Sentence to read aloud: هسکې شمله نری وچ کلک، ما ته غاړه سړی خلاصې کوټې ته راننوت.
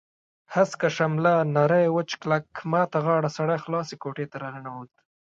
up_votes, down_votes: 0, 2